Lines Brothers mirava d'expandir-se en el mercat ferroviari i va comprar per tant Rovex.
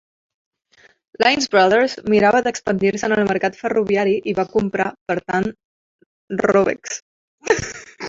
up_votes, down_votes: 1, 2